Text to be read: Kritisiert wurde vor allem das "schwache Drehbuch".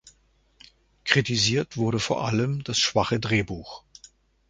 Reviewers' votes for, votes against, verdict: 2, 0, accepted